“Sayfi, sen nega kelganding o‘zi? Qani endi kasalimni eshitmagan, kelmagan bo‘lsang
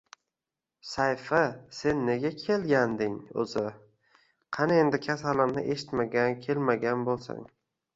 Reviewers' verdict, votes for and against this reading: rejected, 0, 2